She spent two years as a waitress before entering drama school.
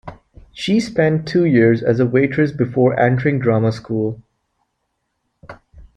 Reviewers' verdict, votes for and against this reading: accepted, 3, 0